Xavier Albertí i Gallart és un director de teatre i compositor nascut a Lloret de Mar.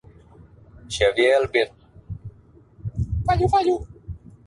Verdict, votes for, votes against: rejected, 1, 2